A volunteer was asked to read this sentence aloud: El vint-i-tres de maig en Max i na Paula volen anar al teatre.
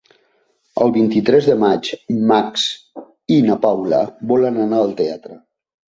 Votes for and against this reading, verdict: 1, 2, rejected